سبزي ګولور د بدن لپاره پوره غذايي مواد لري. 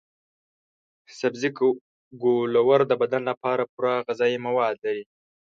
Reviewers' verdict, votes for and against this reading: rejected, 1, 2